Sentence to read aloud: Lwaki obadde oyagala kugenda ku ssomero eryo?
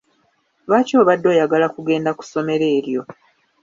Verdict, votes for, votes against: accepted, 2, 1